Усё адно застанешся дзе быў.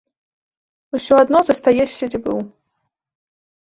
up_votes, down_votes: 0, 3